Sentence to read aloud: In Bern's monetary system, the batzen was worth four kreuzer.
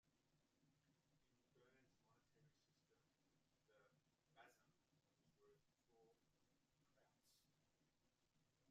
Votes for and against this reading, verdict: 0, 2, rejected